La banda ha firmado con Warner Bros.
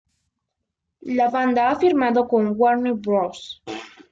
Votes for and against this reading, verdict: 2, 1, accepted